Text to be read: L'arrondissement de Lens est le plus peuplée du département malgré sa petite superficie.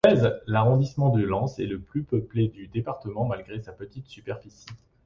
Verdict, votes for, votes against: rejected, 0, 2